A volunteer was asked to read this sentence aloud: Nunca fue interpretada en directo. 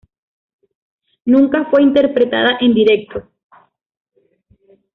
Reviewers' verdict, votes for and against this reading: accepted, 2, 0